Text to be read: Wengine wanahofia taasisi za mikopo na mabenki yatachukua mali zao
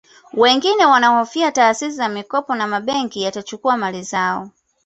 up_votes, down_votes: 2, 0